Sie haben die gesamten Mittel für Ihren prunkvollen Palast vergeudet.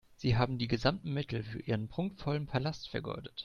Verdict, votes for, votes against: accepted, 2, 0